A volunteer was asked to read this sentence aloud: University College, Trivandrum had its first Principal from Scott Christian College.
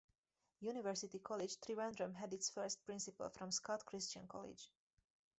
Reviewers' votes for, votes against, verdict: 2, 2, rejected